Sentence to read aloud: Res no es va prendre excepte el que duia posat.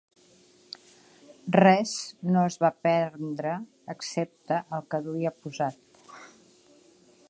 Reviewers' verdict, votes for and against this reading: rejected, 1, 3